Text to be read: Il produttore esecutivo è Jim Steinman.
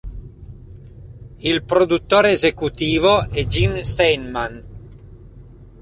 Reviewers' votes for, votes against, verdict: 2, 0, accepted